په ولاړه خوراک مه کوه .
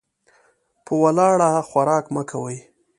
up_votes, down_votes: 1, 2